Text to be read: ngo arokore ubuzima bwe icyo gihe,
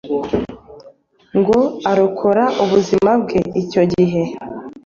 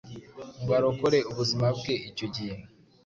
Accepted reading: second